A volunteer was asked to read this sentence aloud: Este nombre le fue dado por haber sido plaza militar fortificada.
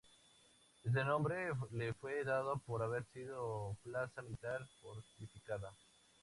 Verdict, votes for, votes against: accepted, 2, 0